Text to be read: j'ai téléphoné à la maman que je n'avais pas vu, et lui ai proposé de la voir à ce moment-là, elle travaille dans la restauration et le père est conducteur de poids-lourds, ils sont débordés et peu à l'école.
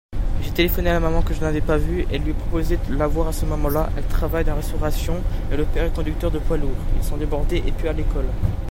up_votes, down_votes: 1, 2